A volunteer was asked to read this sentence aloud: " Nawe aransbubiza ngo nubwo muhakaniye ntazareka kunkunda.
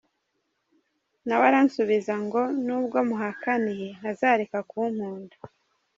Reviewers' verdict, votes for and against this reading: rejected, 1, 2